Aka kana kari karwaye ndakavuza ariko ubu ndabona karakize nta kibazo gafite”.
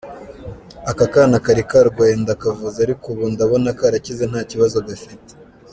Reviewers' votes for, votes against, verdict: 2, 0, accepted